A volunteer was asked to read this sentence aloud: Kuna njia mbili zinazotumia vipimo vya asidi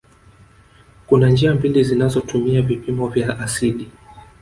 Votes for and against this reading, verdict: 1, 2, rejected